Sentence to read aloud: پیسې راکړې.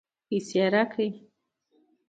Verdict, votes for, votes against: accepted, 2, 1